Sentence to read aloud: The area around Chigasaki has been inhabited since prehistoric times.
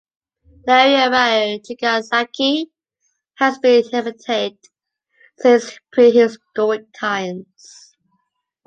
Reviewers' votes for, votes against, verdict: 1, 2, rejected